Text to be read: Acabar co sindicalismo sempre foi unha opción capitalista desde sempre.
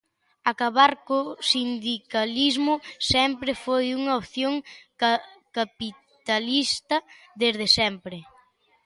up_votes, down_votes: 1, 2